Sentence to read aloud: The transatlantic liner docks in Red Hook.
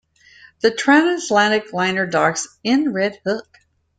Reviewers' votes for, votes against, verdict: 1, 2, rejected